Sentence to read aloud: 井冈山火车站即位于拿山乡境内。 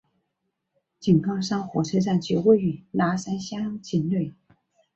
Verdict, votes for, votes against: accepted, 3, 0